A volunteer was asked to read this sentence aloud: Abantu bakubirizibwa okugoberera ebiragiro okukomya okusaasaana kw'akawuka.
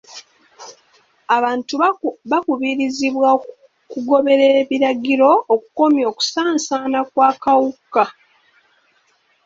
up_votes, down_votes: 1, 2